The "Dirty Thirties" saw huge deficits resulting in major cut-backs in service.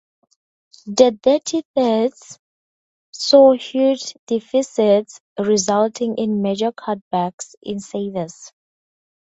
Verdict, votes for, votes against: rejected, 0, 4